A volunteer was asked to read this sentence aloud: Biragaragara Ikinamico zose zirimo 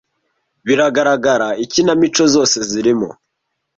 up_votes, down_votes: 2, 0